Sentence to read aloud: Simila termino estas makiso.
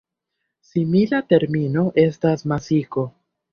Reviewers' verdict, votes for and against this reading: rejected, 0, 2